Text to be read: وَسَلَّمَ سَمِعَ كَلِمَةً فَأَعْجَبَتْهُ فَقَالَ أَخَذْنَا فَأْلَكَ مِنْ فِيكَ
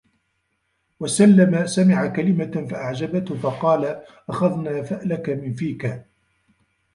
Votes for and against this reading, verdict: 1, 2, rejected